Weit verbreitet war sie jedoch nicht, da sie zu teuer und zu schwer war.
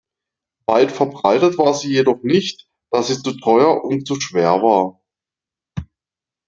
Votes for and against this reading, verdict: 2, 0, accepted